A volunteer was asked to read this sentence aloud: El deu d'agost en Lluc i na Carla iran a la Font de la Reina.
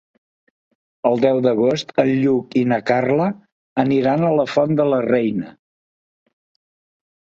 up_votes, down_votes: 2, 3